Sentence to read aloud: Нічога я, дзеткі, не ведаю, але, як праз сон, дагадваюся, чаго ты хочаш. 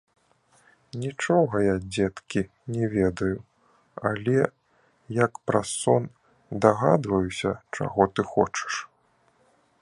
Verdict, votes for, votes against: accepted, 3, 0